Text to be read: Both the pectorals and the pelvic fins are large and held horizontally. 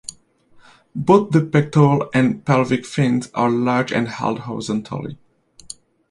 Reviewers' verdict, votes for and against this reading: accepted, 2, 1